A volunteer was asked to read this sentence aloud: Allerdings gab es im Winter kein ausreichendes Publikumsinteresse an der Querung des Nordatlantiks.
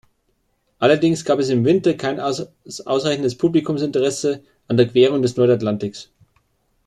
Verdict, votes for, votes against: rejected, 1, 2